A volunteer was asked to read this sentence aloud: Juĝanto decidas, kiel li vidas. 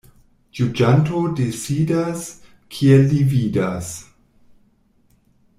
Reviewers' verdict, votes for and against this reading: rejected, 1, 2